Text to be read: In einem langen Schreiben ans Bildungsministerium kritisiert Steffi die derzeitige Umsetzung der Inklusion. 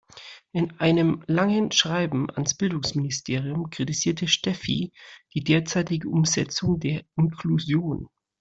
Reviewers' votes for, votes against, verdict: 0, 2, rejected